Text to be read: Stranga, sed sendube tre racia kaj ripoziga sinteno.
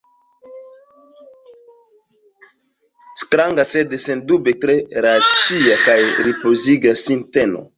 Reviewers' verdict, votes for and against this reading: rejected, 1, 2